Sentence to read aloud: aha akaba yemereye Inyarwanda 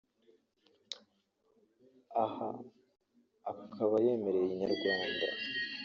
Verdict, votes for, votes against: rejected, 2, 3